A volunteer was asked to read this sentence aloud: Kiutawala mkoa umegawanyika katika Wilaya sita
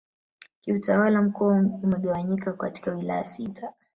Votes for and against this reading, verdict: 0, 2, rejected